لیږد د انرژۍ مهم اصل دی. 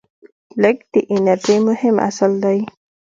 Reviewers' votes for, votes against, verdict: 2, 0, accepted